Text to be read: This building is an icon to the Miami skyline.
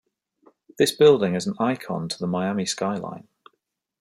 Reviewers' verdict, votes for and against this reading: accepted, 2, 0